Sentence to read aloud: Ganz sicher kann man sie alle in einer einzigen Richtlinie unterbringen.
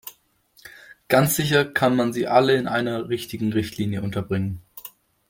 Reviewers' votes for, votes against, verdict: 0, 2, rejected